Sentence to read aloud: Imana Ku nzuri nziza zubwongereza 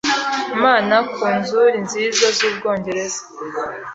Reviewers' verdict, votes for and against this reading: accepted, 2, 0